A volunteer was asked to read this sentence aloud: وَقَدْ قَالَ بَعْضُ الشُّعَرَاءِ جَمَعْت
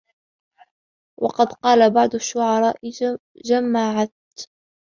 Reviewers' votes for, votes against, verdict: 1, 2, rejected